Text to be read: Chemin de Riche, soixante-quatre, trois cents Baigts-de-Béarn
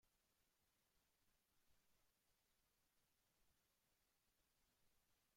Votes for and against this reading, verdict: 0, 2, rejected